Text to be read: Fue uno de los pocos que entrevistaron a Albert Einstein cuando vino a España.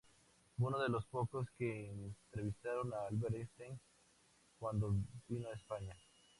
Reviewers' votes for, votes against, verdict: 2, 2, rejected